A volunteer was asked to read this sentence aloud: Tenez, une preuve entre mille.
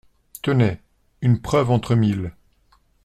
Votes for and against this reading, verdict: 2, 0, accepted